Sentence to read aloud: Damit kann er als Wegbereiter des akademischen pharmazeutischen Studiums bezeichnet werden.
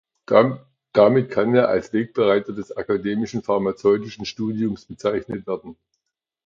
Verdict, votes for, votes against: rejected, 0, 2